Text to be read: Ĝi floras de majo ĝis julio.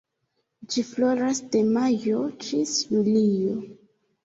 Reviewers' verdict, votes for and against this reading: accepted, 2, 1